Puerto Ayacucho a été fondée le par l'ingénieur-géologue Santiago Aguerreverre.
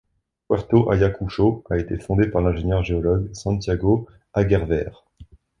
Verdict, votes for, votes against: rejected, 0, 2